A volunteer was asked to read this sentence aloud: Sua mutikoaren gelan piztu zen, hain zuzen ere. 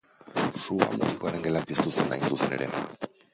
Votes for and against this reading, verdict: 2, 3, rejected